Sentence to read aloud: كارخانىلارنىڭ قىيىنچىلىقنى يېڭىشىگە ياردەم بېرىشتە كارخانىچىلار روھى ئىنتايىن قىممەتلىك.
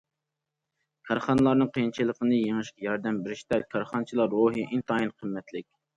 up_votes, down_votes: 2, 0